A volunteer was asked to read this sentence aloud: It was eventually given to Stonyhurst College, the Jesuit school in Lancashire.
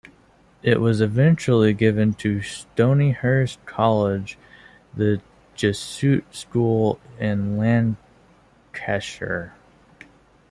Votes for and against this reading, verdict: 1, 2, rejected